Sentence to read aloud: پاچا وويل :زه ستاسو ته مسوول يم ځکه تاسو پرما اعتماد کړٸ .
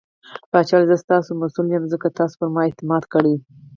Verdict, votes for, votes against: accepted, 4, 0